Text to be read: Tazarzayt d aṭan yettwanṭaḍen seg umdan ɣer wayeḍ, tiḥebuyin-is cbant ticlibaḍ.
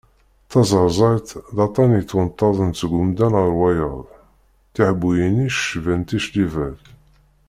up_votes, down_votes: 0, 2